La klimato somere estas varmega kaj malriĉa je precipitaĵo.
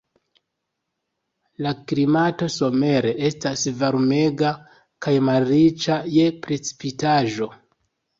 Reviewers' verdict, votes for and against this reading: accepted, 2, 0